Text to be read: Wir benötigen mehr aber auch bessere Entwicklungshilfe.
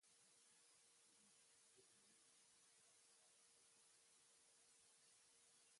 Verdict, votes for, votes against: rejected, 0, 2